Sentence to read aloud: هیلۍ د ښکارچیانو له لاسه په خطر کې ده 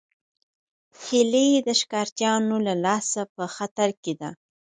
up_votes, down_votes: 4, 0